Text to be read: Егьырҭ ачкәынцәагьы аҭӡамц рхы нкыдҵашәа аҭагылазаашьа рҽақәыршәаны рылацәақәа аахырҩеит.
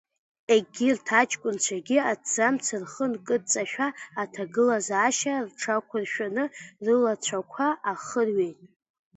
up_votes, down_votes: 2, 1